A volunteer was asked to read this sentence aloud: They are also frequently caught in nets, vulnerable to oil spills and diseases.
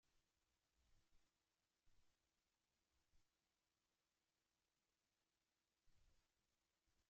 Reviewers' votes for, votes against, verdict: 0, 2, rejected